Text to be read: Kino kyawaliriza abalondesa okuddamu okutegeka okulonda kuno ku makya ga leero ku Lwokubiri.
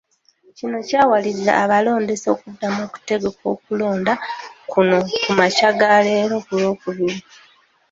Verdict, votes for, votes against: accepted, 2, 0